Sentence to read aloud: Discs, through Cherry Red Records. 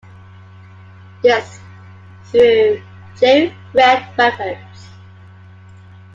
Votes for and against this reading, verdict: 0, 2, rejected